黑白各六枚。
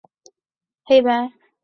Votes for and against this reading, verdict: 0, 3, rejected